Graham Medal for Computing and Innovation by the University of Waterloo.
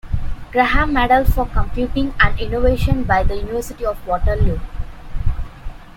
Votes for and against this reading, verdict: 1, 2, rejected